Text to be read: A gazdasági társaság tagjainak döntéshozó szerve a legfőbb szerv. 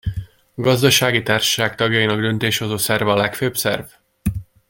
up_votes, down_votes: 1, 2